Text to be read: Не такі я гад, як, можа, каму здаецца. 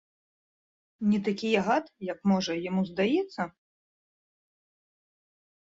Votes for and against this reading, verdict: 0, 2, rejected